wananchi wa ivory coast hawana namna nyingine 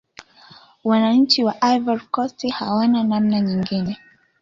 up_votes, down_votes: 2, 1